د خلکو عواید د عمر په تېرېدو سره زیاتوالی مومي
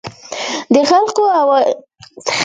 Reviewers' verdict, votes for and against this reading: rejected, 0, 2